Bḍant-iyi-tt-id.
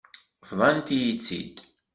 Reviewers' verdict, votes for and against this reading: accepted, 2, 1